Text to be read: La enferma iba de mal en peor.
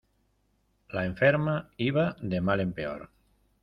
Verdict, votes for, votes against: accepted, 2, 0